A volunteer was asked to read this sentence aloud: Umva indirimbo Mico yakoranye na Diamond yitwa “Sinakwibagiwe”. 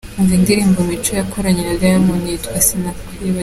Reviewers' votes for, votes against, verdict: 0, 2, rejected